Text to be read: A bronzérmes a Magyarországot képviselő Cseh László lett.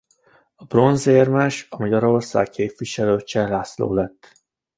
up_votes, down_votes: 1, 2